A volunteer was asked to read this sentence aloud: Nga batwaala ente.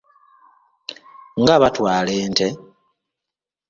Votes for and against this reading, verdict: 2, 0, accepted